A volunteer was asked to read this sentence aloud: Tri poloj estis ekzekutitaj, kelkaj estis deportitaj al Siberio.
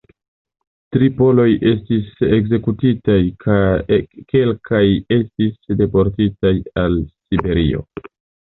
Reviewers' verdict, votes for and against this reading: rejected, 0, 2